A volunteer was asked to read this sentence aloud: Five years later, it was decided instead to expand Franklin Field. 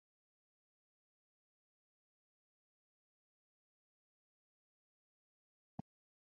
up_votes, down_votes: 0, 2